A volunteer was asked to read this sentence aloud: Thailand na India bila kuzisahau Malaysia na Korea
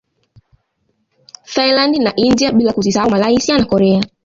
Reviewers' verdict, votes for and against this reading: rejected, 1, 2